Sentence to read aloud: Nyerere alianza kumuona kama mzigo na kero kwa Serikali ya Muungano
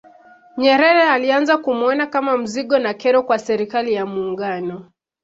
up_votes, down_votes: 2, 1